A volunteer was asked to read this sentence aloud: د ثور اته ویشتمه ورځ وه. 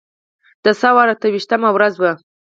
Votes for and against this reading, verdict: 4, 2, accepted